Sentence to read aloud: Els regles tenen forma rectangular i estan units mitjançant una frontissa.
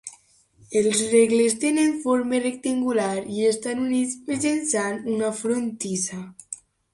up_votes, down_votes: 3, 0